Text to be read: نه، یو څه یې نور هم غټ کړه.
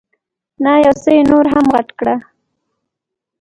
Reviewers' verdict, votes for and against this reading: rejected, 2, 3